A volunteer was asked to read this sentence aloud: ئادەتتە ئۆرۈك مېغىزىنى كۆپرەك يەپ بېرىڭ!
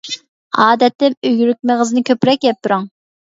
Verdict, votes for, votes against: rejected, 0, 2